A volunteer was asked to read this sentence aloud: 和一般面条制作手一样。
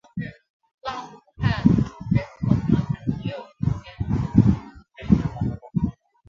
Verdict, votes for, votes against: rejected, 0, 2